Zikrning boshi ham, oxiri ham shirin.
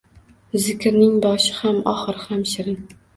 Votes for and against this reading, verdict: 2, 0, accepted